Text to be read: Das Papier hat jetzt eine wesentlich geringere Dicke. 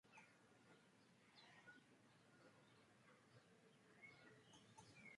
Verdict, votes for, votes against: rejected, 0, 4